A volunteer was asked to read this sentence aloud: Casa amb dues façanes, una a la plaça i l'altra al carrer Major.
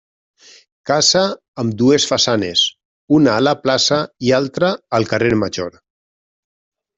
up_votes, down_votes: 2, 1